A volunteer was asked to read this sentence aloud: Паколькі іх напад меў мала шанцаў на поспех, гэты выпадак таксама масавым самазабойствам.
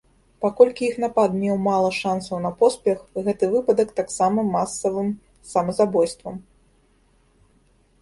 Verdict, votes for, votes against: accepted, 2, 1